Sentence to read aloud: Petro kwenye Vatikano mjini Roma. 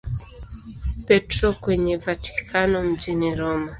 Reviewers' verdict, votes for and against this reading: accepted, 2, 0